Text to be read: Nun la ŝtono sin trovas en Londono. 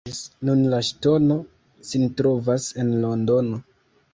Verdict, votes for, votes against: rejected, 1, 2